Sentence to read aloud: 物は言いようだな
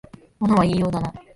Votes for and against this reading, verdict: 3, 0, accepted